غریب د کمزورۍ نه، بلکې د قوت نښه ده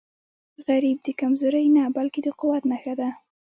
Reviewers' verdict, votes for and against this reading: accepted, 2, 0